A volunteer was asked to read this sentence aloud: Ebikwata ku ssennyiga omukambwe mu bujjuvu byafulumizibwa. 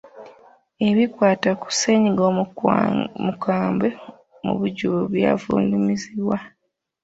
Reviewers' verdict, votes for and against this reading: rejected, 0, 3